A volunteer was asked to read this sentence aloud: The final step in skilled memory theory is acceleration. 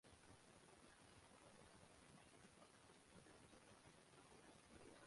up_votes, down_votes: 0, 2